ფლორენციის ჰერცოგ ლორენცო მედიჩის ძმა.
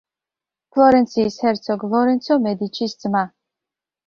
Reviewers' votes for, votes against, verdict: 2, 0, accepted